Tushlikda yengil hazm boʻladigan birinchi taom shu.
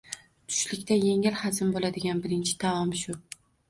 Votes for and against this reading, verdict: 2, 0, accepted